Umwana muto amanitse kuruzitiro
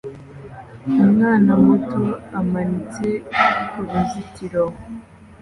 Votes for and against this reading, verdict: 2, 0, accepted